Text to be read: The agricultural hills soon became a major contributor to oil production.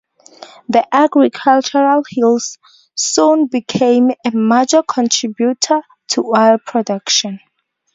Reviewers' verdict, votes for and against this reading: accepted, 4, 0